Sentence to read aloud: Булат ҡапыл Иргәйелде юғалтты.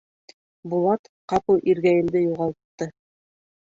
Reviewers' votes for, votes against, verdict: 4, 1, accepted